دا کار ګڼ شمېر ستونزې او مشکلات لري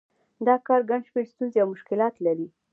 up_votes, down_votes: 2, 0